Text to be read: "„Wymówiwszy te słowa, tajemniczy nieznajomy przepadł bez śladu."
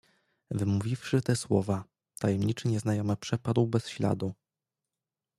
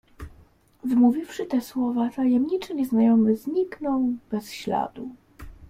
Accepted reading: first